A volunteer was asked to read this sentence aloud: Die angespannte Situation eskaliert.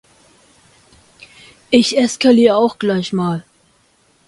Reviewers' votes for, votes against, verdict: 0, 2, rejected